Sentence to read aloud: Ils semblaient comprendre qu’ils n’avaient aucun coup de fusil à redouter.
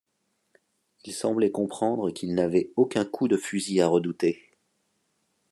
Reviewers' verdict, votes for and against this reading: accepted, 3, 0